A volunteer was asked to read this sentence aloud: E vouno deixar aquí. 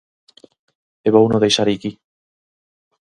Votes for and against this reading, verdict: 2, 2, rejected